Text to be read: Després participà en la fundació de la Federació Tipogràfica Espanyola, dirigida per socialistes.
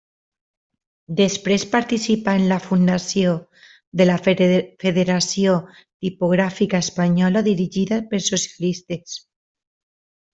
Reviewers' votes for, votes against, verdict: 2, 0, accepted